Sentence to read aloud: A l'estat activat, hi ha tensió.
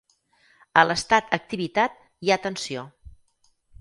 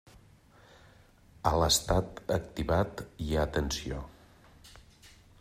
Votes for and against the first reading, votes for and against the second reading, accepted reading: 0, 4, 3, 1, second